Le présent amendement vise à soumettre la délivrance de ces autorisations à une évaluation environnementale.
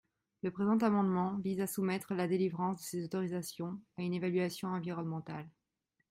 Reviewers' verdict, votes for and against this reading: accepted, 2, 0